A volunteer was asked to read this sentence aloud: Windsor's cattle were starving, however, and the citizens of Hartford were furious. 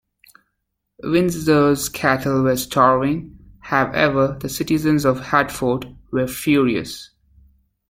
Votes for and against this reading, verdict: 0, 2, rejected